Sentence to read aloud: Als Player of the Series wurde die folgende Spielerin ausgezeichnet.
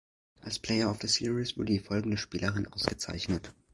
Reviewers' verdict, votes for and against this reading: rejected, 0, 2